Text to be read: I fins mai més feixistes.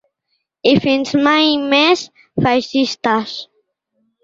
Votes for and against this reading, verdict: 2, 0, accepted